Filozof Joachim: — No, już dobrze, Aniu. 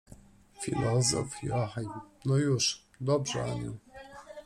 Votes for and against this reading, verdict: 1, 2, rejected